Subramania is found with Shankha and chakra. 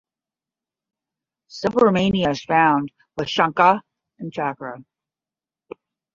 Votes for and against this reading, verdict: 5, 10, rejected